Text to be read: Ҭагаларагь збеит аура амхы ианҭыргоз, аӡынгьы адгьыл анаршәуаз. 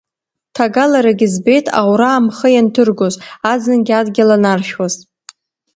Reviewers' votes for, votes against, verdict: 2, 1, accepted